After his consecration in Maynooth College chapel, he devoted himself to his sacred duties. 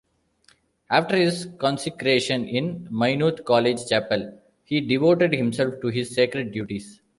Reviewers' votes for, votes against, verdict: 2, 0, accepted